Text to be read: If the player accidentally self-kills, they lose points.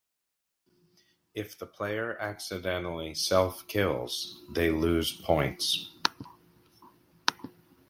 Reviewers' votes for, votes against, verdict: 2, 0, accepted